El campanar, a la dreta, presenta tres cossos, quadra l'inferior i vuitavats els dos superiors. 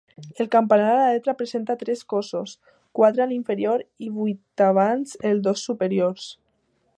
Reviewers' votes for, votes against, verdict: 1, 2, rejected